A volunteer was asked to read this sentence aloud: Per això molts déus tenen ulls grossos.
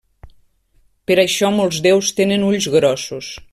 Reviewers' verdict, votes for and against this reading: accepted, 3, 0